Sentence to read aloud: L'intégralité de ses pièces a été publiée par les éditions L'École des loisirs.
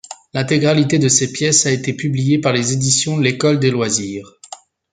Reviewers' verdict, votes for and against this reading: accepted, 2, 0